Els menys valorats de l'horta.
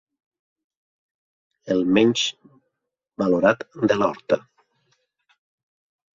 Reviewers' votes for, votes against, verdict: 0, 2, rejected